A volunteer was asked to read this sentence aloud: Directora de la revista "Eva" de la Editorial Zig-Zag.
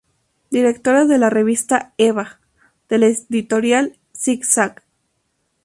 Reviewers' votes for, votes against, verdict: 0, 2, rejected